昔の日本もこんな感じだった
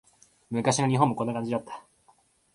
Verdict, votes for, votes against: rejected, 1, 2